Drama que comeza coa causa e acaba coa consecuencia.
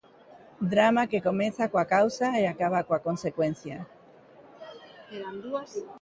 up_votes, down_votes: 2, 0